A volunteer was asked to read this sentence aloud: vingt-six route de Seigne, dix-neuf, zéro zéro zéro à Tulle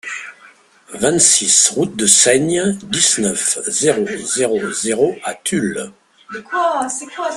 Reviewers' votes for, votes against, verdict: 1, 2, rejected